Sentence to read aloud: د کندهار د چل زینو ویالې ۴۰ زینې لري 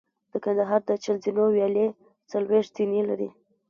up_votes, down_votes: 0, 2